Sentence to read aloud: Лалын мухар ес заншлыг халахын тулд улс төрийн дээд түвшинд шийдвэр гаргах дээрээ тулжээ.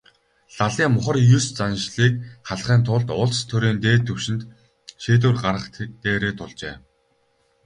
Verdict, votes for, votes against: accepted, 4, 0